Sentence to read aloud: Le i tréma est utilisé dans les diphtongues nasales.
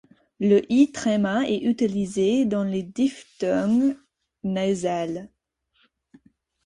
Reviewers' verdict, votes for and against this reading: rejected, 2, 4